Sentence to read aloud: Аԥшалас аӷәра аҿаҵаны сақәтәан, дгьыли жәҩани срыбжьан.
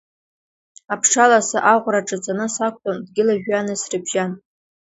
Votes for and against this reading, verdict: 2, 0, accepted